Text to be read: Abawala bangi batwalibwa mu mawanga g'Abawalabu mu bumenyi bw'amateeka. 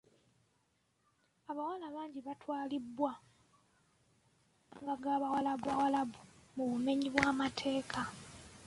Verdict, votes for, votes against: rejected, 0, 2